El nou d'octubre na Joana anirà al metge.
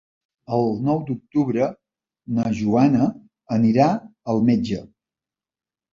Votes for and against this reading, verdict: 3, 0, accepted